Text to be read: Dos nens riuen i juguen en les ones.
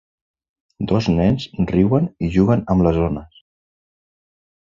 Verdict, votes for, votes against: accepted, 3, 0